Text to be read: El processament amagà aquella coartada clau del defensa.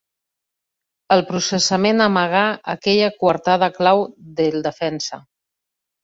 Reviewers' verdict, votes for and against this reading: accepted, 2, 0